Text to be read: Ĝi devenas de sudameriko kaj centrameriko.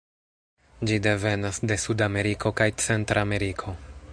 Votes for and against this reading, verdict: 0, 2, rejected